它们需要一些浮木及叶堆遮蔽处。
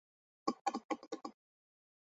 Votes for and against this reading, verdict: 0, 2, rejected